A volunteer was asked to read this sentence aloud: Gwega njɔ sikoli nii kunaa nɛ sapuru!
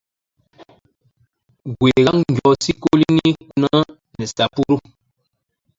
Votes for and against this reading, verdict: 0, 2, rejected